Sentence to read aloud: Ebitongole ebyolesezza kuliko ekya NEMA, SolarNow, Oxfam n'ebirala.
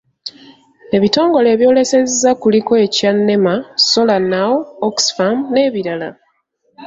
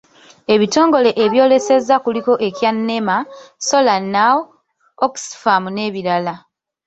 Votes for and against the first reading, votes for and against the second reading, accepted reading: 2, 1, 0, 2, first